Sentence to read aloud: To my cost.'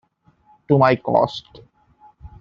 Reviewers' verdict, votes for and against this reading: accepted, 2, 0